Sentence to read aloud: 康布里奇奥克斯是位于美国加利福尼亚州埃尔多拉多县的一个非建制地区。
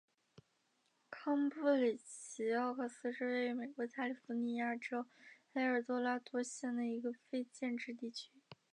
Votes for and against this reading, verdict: 2, 1, accepted